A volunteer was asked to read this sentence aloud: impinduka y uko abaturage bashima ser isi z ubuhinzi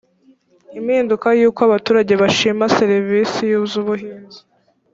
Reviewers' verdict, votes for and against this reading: accepted, 2, 1